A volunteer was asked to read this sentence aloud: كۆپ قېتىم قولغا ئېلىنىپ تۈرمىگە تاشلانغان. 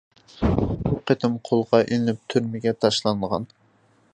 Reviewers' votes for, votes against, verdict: 2, 3, rejected